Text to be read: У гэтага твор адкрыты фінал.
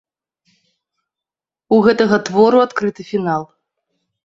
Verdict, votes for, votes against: rejected, 1, 2